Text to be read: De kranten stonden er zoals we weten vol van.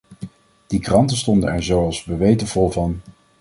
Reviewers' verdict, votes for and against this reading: rejected, 0, 2